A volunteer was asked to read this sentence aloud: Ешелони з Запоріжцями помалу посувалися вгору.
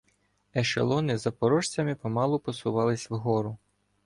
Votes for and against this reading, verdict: 0, 2, rejected